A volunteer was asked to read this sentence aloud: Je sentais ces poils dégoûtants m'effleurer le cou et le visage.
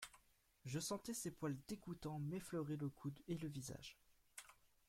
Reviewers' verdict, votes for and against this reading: rejected, 1, 2